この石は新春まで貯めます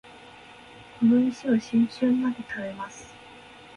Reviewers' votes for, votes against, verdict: 0, 2, rejected